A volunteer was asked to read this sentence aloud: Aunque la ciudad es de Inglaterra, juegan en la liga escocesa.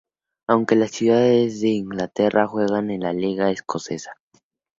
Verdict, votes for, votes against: accepted, 4, 0